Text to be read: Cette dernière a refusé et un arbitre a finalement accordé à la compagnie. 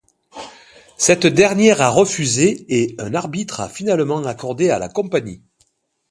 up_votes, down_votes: 2, 0